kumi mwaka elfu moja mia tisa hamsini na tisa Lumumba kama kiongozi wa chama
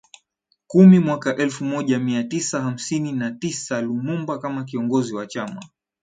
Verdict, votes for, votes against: accepted, 2, 1